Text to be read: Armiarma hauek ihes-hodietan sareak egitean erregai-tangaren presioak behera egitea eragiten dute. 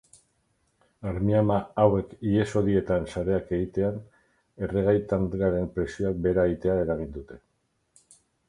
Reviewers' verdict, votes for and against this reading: rejected, 2, 4